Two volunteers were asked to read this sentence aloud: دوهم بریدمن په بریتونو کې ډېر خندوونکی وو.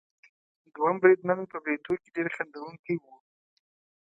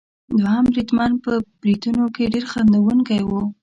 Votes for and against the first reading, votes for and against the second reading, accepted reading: 2, 0, 0, 2, first